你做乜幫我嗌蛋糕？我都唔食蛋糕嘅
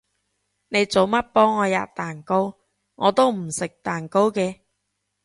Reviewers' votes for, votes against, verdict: 1, 2, rejected